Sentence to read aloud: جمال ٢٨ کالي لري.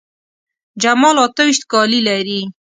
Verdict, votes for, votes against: rejected, 0, 2